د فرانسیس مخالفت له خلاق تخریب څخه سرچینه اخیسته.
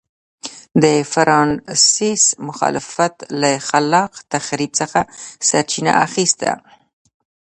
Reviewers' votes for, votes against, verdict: 2, 0, accepted